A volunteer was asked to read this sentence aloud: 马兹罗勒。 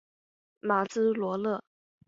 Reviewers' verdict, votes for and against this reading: accepted, 4, 0